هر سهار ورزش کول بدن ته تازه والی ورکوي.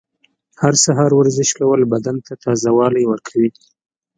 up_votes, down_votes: 2, 0